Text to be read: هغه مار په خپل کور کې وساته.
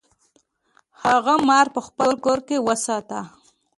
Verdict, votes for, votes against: accepted, 3, 0